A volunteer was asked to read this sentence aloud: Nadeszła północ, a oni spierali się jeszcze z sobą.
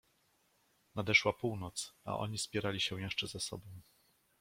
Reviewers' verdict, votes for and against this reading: rejected, 1, 2